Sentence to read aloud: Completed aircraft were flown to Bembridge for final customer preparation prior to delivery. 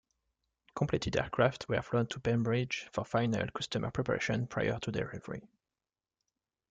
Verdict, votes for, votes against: rejected, 0, 2